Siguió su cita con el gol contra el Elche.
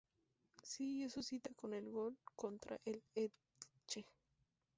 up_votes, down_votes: 2, 0